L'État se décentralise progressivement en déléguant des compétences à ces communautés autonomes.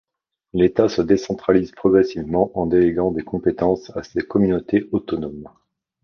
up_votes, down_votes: 2, 0